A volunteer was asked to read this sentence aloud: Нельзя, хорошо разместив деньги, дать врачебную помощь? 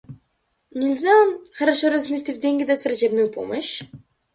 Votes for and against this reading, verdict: 2, 0, accepted